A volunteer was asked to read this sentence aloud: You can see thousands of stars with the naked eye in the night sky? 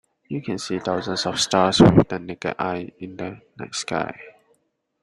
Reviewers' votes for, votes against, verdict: 1, 2, rejected